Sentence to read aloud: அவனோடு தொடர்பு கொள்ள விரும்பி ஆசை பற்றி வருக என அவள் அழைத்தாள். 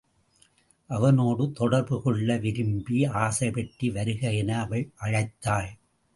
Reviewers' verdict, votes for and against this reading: accepted, 2, 0